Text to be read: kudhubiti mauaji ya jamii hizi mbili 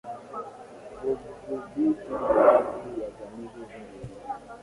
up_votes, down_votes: 0, 2